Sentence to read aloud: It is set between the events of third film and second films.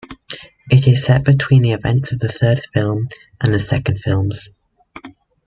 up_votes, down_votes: 2, 1